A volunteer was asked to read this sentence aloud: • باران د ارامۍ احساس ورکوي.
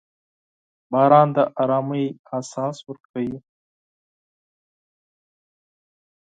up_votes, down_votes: 6, 0